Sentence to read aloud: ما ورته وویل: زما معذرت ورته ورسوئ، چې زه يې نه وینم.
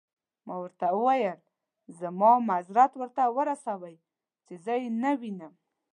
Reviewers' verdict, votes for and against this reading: accepted, 2, 0